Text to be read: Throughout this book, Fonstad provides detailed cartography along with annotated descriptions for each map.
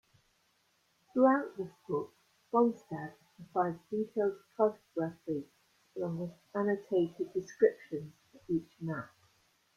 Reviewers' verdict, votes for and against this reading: accepted, 2, 1